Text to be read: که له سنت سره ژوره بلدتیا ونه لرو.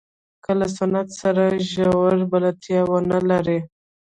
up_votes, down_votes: 0, 2